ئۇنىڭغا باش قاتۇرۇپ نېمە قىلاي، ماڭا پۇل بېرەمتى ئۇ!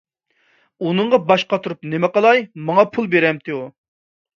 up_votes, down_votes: 2, 0